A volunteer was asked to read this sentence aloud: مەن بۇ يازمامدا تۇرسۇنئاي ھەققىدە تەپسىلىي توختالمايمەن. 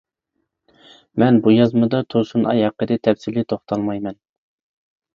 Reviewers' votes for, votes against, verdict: 0, 2, rejected